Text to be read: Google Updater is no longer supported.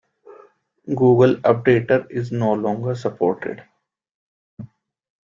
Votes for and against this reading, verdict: 2, 0, accepted